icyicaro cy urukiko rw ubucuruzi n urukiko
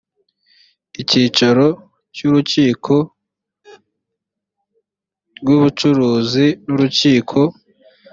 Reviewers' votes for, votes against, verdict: 2, 0, accepted